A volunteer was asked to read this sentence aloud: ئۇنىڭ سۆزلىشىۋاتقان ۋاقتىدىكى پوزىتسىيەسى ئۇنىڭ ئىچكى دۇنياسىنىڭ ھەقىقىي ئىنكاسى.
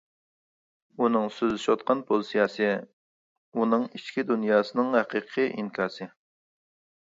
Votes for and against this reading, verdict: 0, 2, rejected